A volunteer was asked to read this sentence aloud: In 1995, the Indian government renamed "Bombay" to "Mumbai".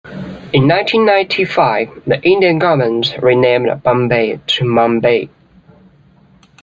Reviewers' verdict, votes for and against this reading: rejected, 0, 2